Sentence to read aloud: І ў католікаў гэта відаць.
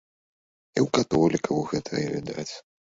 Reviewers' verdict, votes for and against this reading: rejected, 1, 2